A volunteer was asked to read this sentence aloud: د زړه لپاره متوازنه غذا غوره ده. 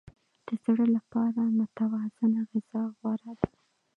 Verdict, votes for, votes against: accepted, 2, 1